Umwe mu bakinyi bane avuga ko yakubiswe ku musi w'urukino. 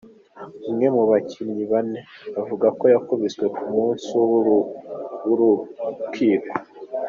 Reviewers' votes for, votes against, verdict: 2, 0, accepted